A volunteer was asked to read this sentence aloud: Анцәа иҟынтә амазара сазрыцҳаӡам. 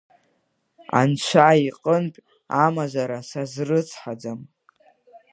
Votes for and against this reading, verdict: 2, 0, accepted